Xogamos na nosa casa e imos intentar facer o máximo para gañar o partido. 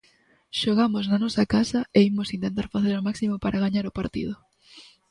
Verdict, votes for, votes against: accepted, 2, 0